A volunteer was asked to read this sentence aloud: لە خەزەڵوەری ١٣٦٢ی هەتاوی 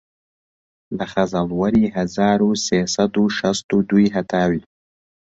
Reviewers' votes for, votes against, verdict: 0, 2, rejected